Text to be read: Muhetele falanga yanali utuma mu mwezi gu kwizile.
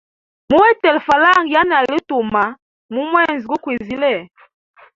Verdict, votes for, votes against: accepted, 2, 1